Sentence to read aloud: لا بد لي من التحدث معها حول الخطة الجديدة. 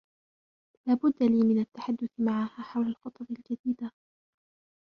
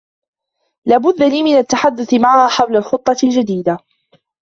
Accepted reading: second